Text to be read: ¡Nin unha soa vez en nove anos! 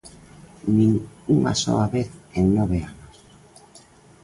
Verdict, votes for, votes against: accepted, 2, 0